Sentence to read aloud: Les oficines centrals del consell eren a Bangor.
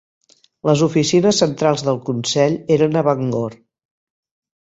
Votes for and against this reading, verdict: 8, 0, accepted